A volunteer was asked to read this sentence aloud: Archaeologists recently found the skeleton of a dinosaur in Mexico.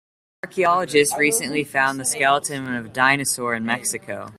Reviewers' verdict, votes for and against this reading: accepted, 2, 0